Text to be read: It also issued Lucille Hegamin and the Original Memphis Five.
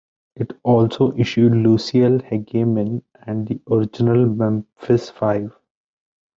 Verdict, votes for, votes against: rejected, 0, 2